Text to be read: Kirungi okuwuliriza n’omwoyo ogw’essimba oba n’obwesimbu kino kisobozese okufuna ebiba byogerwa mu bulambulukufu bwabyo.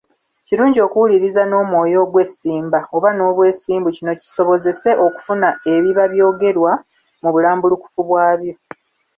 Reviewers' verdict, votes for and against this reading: accepted, 2, 0